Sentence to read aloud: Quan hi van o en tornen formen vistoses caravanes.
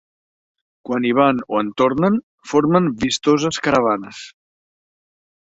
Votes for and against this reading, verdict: 2, 0, accepted